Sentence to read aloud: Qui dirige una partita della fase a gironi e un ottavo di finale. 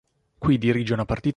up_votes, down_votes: 0, 4